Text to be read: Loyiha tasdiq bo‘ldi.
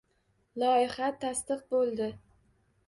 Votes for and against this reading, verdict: 2, 0, accepted